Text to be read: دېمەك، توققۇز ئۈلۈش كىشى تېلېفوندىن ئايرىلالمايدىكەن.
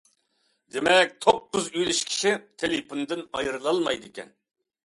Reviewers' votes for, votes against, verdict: 2, 0, accepted